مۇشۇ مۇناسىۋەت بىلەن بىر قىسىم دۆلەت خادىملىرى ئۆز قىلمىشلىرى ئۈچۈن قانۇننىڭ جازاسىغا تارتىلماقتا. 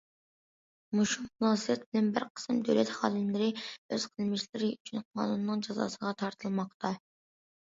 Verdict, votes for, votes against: accepted, 2, 0